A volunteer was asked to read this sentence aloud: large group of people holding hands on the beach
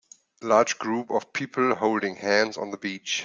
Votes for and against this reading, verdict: 3, 0, accepted